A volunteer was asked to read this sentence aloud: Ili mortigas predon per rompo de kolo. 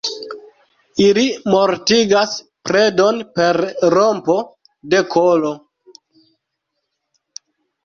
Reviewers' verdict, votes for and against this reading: rejected, 2, 3